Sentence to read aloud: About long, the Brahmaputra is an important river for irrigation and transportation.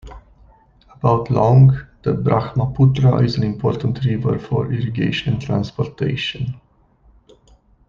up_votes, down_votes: 2, 0